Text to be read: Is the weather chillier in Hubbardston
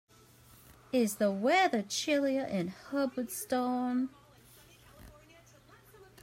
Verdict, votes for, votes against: accepted, 2, 1